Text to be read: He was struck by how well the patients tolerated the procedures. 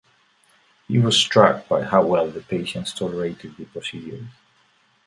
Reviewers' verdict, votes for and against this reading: rejected, 0, 2